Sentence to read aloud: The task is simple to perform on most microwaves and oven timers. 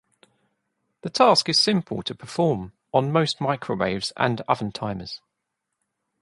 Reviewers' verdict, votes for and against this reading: accepted, 2, 0